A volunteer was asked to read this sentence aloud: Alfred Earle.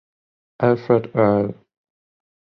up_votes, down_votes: 10, 0